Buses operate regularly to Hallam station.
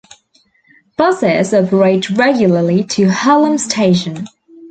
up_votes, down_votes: 2, 0